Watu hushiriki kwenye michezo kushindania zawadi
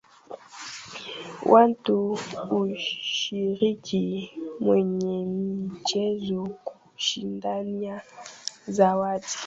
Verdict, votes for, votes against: rejected, 1, 4